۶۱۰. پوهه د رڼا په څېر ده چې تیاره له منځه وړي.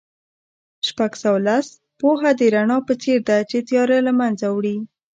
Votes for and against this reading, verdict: 0, 2, rejected